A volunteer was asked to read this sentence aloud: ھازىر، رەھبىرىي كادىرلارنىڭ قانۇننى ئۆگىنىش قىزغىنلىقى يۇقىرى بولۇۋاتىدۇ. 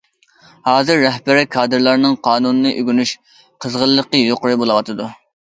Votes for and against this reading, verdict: 0, 2, rejected